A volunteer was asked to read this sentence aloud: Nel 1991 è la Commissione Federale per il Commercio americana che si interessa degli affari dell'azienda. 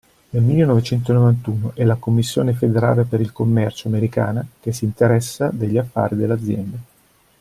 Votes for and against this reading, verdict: 0, 2, rejected